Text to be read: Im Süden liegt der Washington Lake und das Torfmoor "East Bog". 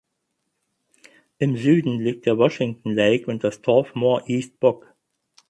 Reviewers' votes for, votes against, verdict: 4, 0, accepted